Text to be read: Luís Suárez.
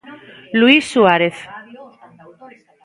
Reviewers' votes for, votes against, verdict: 1, 2, rejected